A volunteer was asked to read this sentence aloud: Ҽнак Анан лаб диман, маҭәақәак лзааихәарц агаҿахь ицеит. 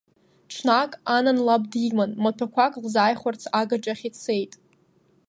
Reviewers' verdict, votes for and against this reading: accepted, 2, 0